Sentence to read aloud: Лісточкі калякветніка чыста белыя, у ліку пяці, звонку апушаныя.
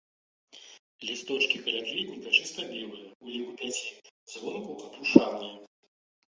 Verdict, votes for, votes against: rejected, 0, 2